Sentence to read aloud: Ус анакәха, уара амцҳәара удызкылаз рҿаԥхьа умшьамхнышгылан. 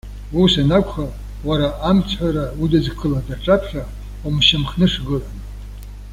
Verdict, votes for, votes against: accepted, 2, 0